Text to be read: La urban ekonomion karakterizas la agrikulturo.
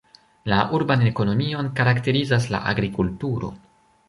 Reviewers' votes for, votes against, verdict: 1, 2, rejected